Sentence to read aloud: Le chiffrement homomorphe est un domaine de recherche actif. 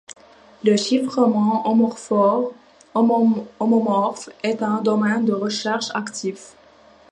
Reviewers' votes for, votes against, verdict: 0, 2, rejected